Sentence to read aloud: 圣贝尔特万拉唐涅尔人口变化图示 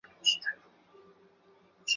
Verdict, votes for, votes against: rejected, 1, 2